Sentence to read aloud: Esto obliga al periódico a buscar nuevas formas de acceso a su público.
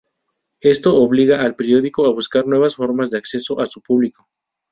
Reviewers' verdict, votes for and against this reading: rejected, 0, 2